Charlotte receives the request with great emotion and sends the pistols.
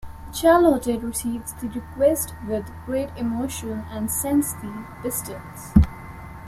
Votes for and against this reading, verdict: 0, 2, rejected